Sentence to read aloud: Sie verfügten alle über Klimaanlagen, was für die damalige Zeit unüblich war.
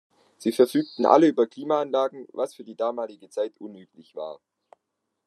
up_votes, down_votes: 2, 0